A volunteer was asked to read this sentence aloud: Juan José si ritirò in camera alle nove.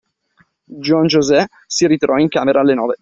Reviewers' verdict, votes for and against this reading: accepted, 2, 0